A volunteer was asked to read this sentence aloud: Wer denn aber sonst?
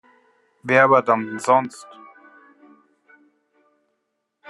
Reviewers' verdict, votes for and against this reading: rejected, 0, 2